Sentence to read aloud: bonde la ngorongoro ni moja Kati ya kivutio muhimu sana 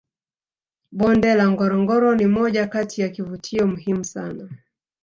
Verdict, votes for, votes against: rejected, 1, 2